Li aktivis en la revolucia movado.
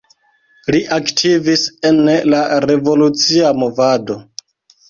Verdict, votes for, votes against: rejected, 0, 2